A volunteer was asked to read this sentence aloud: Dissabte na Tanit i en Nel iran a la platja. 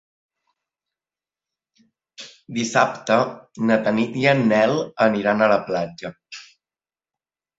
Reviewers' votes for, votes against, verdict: 0, 2, rejected